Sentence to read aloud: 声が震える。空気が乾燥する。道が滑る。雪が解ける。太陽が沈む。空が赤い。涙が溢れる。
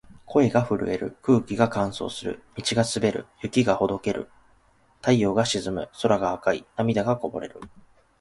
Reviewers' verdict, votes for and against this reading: rejected, 0, 2